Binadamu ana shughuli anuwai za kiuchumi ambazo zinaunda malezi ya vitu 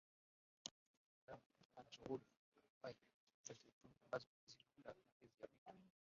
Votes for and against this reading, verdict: 0, 2, rejected